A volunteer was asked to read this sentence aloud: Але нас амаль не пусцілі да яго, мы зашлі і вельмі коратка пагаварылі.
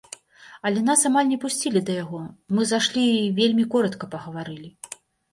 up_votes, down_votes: 2, 0